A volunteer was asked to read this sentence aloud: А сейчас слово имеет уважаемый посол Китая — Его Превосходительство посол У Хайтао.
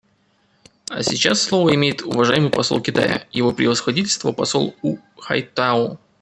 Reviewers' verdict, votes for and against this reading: rejected, 1, 2